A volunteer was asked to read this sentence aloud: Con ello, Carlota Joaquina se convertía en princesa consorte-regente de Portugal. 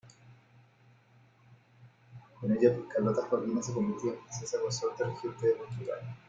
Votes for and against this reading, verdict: 1, 2, rejected